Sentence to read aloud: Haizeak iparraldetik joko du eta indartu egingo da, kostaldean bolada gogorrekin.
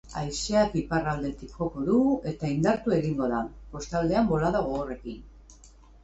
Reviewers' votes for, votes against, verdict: 2, 0, accepted